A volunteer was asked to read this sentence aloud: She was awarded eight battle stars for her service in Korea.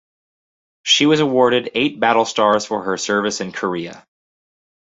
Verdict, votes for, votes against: accepted, 4, 0